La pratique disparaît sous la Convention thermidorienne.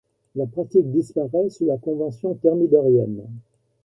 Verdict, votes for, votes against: accepted, 2, 0